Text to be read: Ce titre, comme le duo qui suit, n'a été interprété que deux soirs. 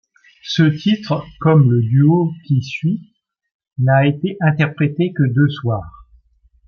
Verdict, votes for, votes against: accepted, 2, 0